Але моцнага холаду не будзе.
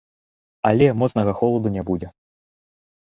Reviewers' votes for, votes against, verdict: 2, 0, accepted